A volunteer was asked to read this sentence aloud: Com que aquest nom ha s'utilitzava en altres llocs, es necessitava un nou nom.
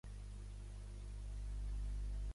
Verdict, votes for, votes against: rejected, 0, 2